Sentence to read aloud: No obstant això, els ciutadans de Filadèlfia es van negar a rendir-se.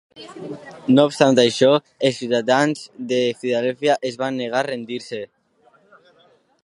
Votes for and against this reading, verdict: 2, 1, accepted